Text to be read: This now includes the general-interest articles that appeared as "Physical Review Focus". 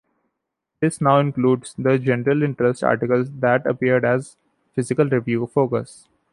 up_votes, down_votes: 2, 0